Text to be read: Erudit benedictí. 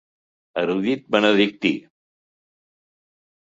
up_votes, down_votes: 2, 0